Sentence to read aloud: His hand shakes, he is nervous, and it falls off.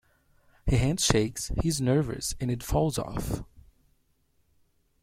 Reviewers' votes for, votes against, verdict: 1, 2, rejected